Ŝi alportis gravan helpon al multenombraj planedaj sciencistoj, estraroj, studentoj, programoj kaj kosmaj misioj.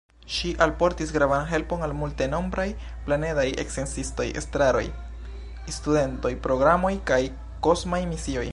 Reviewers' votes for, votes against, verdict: 0, 2, rejected